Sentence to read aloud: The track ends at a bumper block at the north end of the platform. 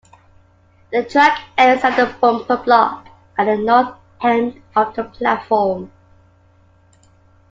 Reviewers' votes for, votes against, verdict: 1, 2, rejected